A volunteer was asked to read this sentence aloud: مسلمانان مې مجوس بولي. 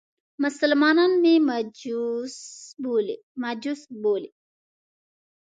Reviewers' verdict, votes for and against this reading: rejected, 1, 2